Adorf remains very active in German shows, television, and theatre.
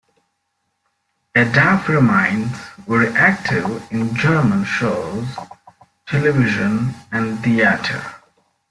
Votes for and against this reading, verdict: 0, 2, rejected